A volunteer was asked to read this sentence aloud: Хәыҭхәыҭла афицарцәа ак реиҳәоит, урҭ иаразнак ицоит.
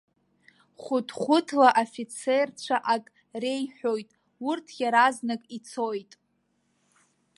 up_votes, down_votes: 0, 2